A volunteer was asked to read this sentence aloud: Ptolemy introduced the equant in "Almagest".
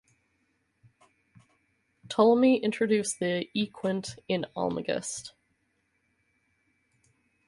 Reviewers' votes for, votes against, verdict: 4, 0, accepted